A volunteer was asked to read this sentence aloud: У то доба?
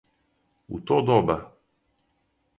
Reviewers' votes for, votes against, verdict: 4, 2, accepted